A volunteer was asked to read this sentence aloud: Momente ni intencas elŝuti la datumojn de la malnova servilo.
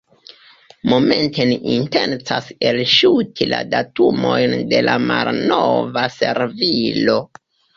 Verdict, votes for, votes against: accepted, 2, 1